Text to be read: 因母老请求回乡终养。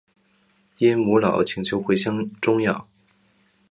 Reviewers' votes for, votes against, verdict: 4, 0, accepted